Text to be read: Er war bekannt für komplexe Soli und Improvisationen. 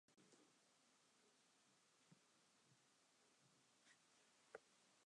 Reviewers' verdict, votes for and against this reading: rejected, 0, 2